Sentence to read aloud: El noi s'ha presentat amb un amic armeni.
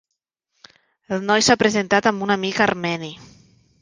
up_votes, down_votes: 3, 0